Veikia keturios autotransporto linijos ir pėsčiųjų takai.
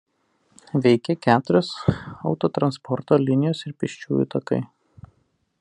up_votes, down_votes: 1, 2